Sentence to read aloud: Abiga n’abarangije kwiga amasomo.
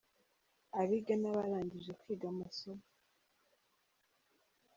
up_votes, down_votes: 4, 0